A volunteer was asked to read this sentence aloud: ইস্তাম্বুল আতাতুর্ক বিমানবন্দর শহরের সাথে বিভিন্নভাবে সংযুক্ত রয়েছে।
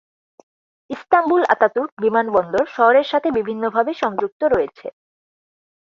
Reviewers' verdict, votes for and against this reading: accepted, 4, 2